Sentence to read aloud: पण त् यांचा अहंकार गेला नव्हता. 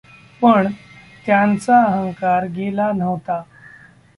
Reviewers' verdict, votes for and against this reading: accepted, 2, 0